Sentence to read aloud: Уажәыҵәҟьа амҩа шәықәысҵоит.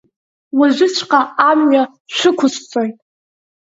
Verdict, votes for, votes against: accepted, 4, 0